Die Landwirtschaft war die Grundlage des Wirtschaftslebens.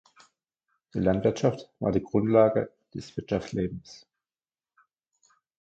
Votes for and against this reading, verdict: 2, 0, accepted